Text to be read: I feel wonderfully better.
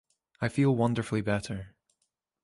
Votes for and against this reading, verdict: 3, 1, accepted